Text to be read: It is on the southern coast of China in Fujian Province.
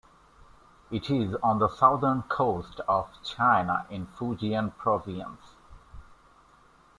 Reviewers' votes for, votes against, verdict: 1, 2, rejected